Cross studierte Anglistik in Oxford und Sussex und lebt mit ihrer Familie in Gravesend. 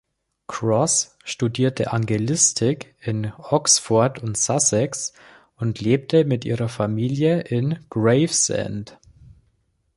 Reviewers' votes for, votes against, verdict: 0, 2, rejected